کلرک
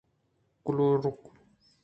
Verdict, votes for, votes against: accepted, 2, 0